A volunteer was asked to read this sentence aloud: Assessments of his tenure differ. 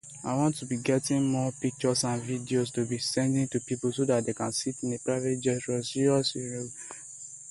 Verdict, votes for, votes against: rejected, 0, 2